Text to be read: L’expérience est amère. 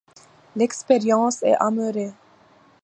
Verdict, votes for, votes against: rejected, 1, 2